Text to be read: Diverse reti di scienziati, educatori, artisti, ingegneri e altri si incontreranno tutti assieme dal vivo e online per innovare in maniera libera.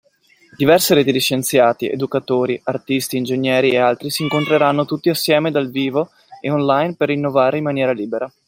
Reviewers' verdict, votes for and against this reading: rejected, 1, 2